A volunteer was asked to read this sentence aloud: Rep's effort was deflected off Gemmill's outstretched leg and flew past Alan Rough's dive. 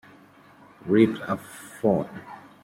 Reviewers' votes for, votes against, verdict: 0, 2, rejected